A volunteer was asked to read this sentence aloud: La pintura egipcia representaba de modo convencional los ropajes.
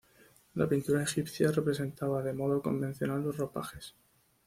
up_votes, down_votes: 2, 1